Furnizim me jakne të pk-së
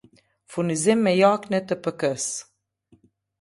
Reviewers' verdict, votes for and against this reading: rejected, 1, 2